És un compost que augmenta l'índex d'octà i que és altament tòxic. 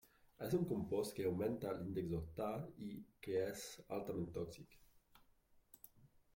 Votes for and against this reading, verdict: 0, 2, rejected